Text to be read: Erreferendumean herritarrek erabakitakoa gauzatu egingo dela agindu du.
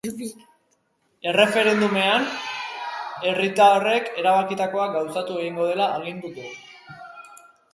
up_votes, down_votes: 1, 2